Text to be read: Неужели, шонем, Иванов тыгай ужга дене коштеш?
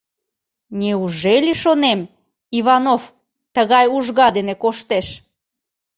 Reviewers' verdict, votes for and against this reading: accepted, 3, 0